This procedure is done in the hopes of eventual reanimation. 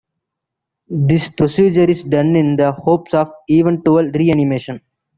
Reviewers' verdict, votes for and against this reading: accepted, 2, 0